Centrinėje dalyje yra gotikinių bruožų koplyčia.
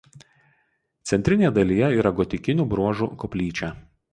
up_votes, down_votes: 2, 0